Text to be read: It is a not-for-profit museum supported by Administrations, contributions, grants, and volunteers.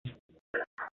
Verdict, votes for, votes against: rejected, 0, 2